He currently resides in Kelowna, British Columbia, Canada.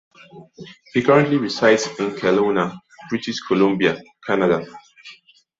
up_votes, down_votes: 2, 0